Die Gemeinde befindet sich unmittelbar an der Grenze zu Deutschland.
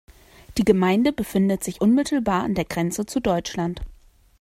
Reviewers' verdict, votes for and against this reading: accepted, 2, 0